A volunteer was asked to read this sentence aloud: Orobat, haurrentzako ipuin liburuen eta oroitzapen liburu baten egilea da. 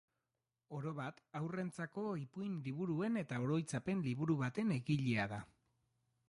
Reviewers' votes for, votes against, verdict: 2, 1, accepted